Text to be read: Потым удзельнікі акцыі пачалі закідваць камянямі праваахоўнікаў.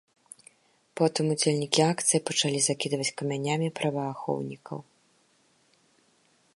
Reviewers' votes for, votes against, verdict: 2, 0, accepted